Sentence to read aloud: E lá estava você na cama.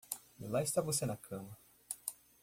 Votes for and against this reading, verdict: 1, 2, rejected